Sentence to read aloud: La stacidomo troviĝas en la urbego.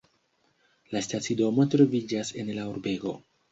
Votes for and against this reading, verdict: 2, 0, accepted